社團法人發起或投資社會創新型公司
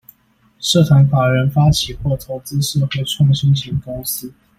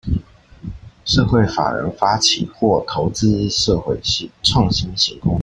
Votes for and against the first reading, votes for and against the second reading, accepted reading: 2, 0, 0, 2, first